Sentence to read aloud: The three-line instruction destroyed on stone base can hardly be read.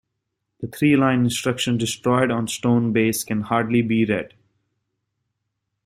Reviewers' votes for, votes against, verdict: 2, 0, accepted